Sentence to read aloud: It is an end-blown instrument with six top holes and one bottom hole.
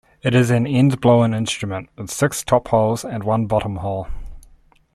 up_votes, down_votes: 3, 0